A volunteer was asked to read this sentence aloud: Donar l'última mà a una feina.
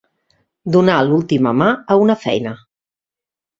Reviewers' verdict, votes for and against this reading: accepted, 2, 0